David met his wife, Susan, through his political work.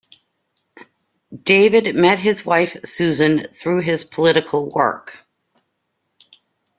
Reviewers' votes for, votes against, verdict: 2, 0, accepted